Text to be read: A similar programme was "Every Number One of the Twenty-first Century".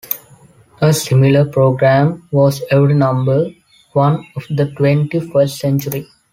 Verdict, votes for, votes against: accepted, 3, 1